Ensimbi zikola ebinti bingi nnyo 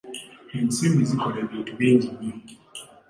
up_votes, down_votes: 2, 0